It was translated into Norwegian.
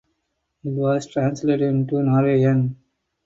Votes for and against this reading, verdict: 4, 0, accepted